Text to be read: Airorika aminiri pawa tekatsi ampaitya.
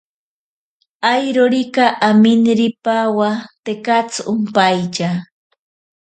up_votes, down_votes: 0, 4